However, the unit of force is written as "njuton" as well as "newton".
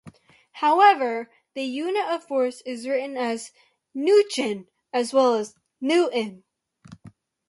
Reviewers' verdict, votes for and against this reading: rejected, 0, 2